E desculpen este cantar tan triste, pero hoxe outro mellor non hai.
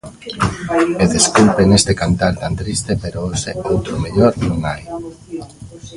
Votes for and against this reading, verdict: 1, 2, rejected